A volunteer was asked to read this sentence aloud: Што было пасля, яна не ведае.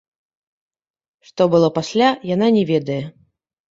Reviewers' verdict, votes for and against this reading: rejected, 0, 2